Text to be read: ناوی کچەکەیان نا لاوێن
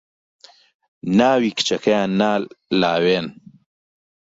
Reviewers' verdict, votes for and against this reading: rejected, 1, 2